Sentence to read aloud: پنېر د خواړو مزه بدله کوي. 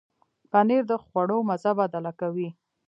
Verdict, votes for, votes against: accepted, 2, 0